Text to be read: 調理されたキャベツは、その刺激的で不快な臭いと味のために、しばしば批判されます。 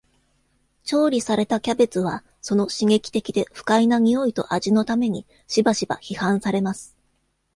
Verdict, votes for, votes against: accepted, 2, 0